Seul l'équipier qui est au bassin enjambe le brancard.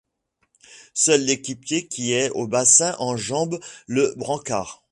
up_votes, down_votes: 2, 0